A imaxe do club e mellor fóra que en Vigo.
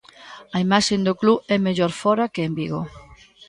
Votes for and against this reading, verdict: 0, 2, rejected